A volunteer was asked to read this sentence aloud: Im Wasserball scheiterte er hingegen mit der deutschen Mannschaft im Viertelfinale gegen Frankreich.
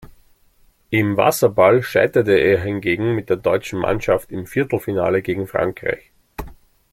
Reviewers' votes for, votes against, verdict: 2, 0, accepted